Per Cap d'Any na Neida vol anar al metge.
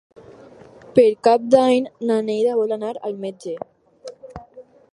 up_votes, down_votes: 4, 0